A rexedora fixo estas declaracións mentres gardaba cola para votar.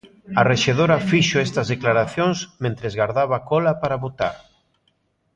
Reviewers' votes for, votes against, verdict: 2, 0, accepted